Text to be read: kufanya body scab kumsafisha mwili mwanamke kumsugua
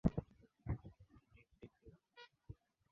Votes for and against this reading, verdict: 0, 2, rejected